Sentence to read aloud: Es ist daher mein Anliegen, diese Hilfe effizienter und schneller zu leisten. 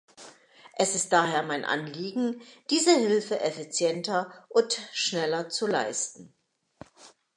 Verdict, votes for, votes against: accepted, 2, 0